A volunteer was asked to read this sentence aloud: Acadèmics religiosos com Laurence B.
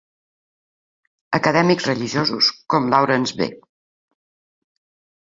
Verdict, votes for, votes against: accepted, 3, 0